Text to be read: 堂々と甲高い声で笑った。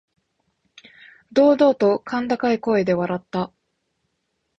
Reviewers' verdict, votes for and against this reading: accepted, 3, 0